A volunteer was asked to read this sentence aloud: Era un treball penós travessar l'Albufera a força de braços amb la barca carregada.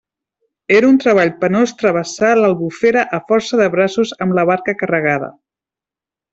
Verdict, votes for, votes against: accepted, 3, 0